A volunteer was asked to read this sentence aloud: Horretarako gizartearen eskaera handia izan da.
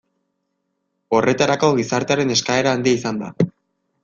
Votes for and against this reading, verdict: 2, 0, accepted